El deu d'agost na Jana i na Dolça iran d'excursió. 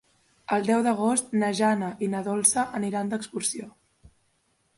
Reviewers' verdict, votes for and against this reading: rejected, 1, 2